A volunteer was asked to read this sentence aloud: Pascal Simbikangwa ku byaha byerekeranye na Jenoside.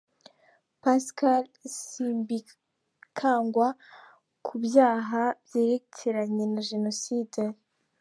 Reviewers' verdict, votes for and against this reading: accepted, 2, 0